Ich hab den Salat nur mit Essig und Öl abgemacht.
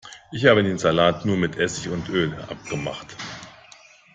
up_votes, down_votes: 2, 0